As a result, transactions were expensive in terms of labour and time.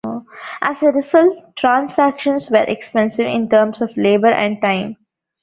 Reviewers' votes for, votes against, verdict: 2, 0, accepted